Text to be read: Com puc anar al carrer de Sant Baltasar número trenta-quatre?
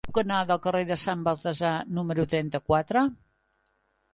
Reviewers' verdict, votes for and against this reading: rejected, 0, 2